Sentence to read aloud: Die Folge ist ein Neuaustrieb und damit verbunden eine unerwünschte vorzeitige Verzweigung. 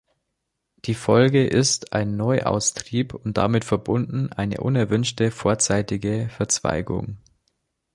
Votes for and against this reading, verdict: 2, 0, accepted